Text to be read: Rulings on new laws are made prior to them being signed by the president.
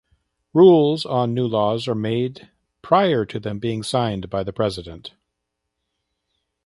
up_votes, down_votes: 0, 2